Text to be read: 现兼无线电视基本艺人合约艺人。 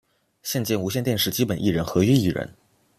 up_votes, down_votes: 2, 0